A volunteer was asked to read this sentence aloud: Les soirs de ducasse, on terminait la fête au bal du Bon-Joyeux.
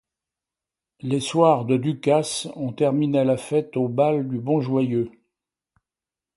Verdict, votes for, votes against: accepted, 2, 0